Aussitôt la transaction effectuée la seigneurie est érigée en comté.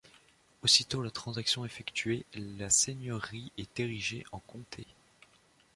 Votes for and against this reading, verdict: 2, 0, accepted